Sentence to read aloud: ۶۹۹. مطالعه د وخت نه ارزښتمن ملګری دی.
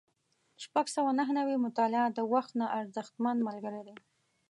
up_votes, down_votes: 0, 2